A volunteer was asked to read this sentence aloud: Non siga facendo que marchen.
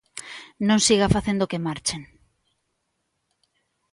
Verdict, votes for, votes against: accepted, 2, 0